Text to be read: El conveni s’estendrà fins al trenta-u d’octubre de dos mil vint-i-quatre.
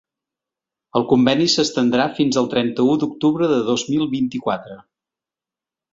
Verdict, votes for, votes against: accepted, 3, 0